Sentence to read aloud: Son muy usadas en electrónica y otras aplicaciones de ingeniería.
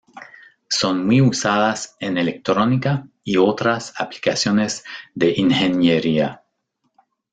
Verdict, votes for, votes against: accepted, 2, 0